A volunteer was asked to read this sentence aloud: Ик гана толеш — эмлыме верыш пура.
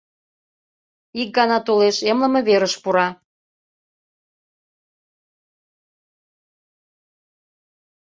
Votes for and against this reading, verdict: 2, 0, accepted